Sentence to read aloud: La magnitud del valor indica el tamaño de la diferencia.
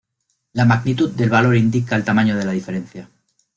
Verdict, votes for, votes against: accepted, 2, 0